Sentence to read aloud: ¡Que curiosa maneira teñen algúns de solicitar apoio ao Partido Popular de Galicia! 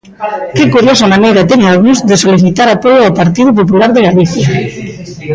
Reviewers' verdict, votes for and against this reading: rejected, 0, 2